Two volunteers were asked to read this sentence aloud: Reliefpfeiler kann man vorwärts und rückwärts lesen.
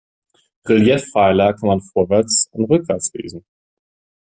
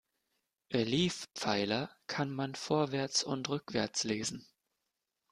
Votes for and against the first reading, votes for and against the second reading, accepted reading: 2, 0, 1, 2, first